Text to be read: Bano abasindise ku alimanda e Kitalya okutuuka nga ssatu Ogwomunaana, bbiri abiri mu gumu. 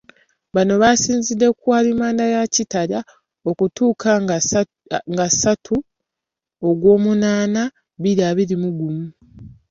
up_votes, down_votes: 1, 2